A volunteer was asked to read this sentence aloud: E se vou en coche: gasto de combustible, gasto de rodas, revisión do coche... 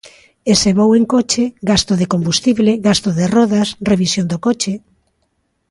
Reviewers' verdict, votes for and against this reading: accepted, 2, 0